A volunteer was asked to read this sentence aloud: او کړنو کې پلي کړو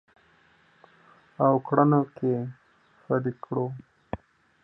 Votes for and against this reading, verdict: 1, 2, rejected